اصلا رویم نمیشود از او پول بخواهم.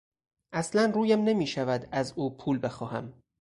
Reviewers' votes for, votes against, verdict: 4, 0, accepted